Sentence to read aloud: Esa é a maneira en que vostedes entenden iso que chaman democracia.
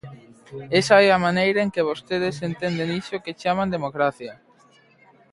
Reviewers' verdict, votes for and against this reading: rejected, 1, 2